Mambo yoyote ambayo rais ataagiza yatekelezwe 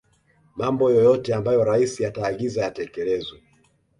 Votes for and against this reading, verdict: 2, 0, accepted